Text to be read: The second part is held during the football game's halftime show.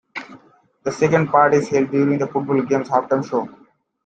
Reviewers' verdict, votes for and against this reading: accepted, 2, 1